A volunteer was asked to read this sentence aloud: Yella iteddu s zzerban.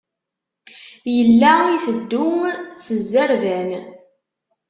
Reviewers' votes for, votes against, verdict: 2, 0, accepted